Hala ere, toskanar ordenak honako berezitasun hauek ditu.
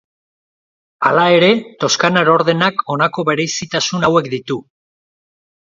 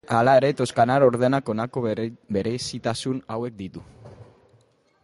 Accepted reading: first